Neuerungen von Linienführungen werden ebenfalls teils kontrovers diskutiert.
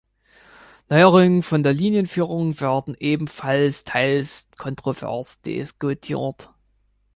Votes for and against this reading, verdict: 0, 3, rejected